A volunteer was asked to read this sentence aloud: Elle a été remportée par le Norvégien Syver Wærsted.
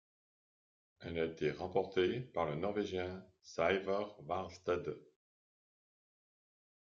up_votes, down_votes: 0, 2